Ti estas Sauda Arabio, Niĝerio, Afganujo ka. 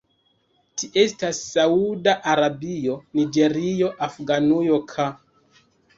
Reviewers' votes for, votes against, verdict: 1, 2, rejected